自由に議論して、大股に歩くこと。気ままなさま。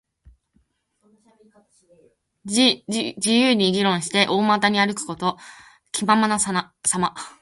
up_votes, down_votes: 1, 3